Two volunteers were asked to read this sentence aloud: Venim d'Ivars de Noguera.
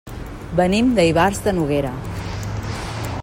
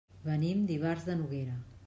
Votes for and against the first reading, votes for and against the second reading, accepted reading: 1, 2, 3, 0, second